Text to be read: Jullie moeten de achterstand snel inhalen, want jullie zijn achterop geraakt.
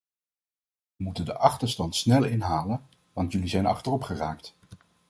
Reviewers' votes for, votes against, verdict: 0, 2, rejected